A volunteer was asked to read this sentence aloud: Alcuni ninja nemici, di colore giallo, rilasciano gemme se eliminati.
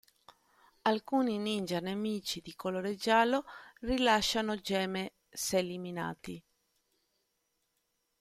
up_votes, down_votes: 2, 0